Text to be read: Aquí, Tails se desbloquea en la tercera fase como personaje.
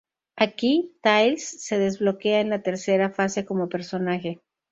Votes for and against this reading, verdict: 2, 0, accepted